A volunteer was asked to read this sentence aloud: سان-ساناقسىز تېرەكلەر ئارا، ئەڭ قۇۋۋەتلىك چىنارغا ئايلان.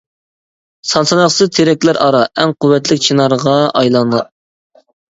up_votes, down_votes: 0, 2